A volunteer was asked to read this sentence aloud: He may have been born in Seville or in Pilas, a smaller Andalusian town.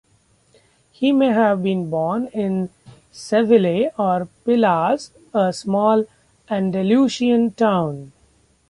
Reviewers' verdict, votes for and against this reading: rejected, 0, 2